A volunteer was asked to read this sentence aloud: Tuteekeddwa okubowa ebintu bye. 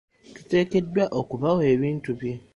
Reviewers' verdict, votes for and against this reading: rejected, 0, 2